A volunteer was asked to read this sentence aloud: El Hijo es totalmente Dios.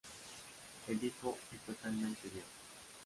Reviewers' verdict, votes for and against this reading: rejected, 0, 2